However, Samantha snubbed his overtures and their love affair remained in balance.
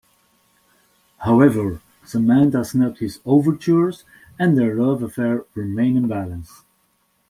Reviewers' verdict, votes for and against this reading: accepted, 2, 0